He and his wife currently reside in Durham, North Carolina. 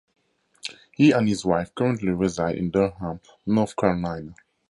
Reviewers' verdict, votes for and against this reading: accepted, 2, 0